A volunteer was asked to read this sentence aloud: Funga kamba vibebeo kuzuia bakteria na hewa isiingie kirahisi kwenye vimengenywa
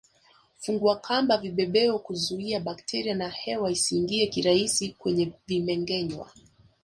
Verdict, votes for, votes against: rejected, 1, 2